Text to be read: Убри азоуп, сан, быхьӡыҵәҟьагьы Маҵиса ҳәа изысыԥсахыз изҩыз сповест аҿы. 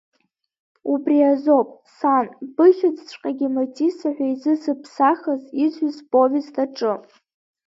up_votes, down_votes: 1, 2